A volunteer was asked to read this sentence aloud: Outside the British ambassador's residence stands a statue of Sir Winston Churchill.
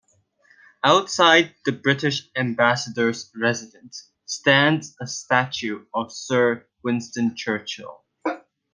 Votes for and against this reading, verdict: 2, 0, accepted